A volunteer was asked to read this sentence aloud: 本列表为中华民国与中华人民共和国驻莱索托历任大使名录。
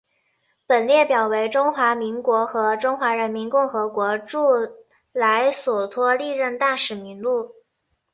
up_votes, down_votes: 0, 2